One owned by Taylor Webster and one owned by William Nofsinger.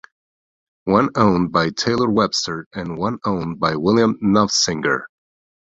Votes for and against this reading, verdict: 2, 0, accepted